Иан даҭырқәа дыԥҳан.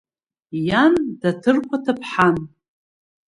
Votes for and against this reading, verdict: 1, 2, rejected